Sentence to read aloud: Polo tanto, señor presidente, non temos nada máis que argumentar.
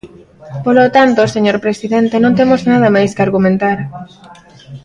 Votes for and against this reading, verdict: 1, 2, rejected